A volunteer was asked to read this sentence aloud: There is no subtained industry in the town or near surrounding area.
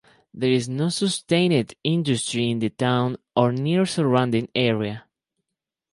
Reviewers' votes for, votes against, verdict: 0, 2, rejected